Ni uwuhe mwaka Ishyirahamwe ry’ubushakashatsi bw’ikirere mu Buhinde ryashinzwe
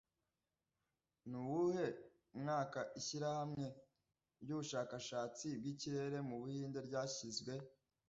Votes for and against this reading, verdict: 0, 2, rejected